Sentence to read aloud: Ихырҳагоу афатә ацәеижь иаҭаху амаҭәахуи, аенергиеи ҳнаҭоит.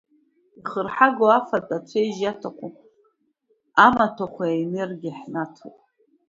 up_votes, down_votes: 1, 2